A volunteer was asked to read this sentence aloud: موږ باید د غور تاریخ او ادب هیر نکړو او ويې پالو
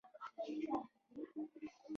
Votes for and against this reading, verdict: 1, 2, rejected